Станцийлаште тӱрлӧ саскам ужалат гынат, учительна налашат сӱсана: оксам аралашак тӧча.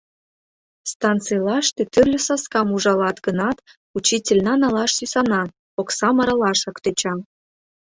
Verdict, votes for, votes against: rejected, 0, 2